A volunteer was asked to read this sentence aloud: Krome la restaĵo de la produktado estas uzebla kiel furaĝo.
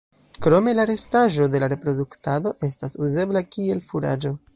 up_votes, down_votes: 0, 2